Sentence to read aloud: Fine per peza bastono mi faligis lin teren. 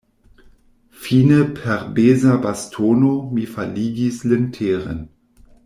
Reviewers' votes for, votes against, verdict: 1, 2, rejected